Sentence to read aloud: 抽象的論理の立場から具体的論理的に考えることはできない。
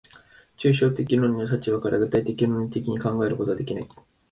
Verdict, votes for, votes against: accepted, 3, 0